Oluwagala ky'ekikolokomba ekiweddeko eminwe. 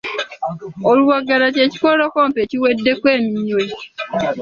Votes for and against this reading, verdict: 2, 0, accepted